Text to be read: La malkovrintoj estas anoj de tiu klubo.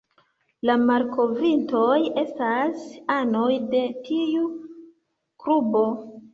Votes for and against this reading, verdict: 0, 2, rejected